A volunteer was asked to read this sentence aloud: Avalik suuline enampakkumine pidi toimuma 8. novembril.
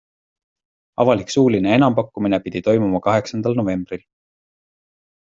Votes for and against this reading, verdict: 0, 2, rejected